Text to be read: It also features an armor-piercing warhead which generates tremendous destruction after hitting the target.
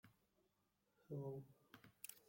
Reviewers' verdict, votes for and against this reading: rejected, 0, 2